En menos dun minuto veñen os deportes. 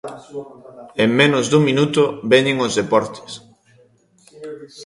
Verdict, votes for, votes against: accepted, 2, 1